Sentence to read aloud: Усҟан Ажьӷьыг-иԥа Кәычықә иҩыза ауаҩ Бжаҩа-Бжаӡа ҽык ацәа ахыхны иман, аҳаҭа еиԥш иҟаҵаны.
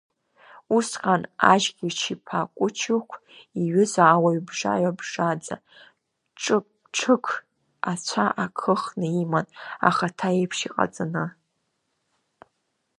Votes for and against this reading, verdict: 0, 2, rejected